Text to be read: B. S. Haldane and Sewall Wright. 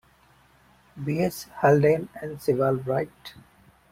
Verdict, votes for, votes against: accepted, 2, 0